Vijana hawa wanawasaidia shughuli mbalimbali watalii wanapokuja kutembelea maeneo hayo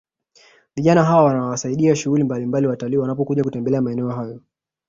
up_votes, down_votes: 2, 1